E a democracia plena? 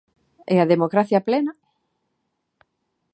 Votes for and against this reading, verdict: 2, 0, accepted